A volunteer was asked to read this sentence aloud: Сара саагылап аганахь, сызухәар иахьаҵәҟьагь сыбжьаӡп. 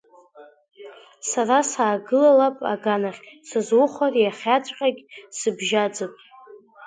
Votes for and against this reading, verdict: 2, 1, accepted